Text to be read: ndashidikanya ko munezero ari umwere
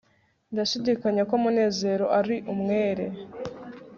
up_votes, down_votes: 4, 0